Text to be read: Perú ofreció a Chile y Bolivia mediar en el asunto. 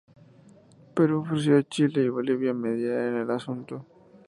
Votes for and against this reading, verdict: 2, 0, accepted